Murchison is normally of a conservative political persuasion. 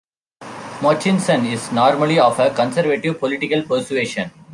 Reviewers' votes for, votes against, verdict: 0, 2, rejected